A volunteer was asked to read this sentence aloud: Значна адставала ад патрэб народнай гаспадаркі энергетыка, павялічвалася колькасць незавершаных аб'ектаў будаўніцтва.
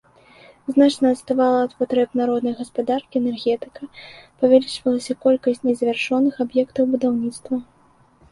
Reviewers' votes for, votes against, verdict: 0, 2, rejected